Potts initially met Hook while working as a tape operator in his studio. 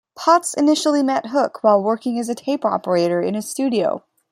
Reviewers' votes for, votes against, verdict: 2, 0, accepted